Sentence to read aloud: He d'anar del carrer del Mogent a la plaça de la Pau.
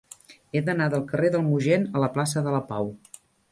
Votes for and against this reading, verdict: 3, 0, accepted